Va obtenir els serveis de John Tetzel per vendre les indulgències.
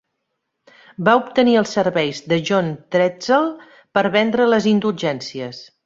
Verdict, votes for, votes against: rejected, 1, 2